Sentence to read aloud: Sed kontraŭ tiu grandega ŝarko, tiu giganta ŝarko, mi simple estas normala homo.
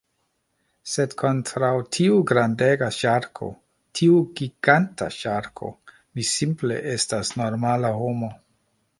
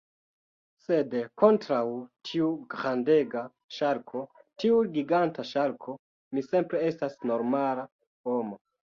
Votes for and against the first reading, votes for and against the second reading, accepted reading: 2, 0, 0, 2, first